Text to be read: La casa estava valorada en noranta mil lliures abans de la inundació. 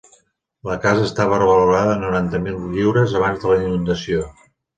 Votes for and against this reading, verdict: 1, 2, rejected